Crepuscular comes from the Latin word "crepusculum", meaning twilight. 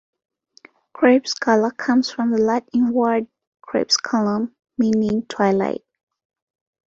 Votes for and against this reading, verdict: 2, 0, accepted